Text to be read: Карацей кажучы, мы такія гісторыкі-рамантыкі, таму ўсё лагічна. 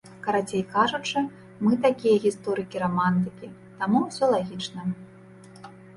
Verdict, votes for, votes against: accepted, 3, 0